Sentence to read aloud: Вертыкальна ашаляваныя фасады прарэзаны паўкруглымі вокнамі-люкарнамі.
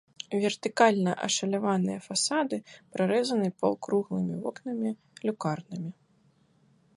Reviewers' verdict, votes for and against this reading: accepted, 2, 0